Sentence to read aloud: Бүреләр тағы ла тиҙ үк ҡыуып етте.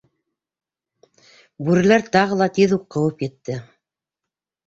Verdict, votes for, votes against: accepted, 2, 0